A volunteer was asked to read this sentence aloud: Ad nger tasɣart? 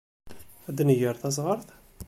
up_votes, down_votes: 2, 1